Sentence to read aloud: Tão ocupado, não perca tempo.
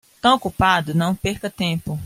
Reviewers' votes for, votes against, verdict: 2, 0, accepted